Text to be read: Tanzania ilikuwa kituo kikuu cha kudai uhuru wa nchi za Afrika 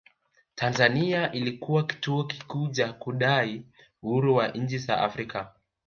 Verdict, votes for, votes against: rejected, 1, 2